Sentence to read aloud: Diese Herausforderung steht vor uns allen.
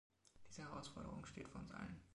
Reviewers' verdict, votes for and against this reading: accepted, 2, 0